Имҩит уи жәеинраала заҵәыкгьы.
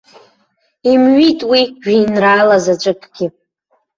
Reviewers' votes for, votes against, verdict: 2, 1, accepted